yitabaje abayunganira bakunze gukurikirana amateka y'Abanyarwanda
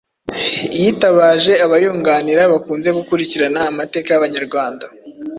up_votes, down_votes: 2, 0